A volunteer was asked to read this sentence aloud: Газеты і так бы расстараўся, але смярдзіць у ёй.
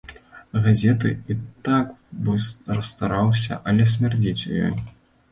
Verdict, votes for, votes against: rejected, 0, 2